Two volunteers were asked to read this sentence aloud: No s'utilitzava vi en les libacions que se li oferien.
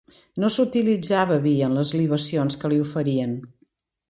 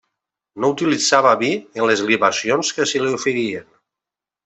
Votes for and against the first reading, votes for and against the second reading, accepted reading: 2, 0, 0, 2, first